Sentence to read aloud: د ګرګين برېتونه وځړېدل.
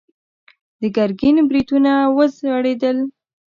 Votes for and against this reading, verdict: 2, 0, accepted